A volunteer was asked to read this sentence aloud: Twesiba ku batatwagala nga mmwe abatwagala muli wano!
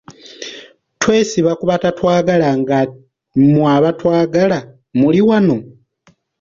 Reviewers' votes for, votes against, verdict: 2, 0, accepted